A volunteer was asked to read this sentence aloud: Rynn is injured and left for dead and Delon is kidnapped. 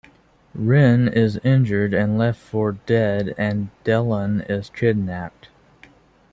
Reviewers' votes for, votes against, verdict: 0, 2, rejected